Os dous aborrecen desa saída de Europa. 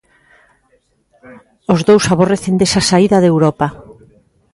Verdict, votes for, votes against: accepted, 2, 1